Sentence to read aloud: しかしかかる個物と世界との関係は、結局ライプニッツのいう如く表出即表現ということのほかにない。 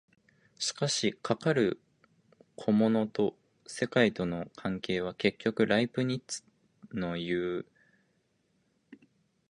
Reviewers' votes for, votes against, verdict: 0, 2, rejected